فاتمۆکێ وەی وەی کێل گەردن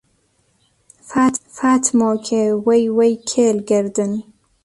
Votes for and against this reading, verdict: 1, 2, rejected